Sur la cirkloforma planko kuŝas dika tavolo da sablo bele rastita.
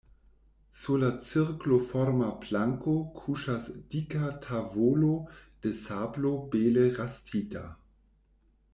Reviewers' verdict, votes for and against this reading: rejected, 0, 2